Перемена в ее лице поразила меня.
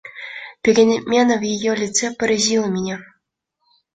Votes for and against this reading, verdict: 2, 1, accepted